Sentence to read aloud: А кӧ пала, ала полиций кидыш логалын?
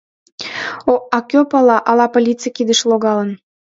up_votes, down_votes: 0, 2